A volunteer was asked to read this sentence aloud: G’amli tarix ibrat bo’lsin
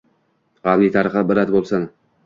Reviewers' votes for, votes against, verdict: 1, 2, rejected